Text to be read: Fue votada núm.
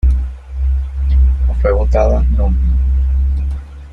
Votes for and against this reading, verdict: 2, 0, accepted